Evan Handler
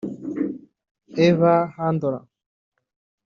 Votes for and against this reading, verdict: 0, 2, rejected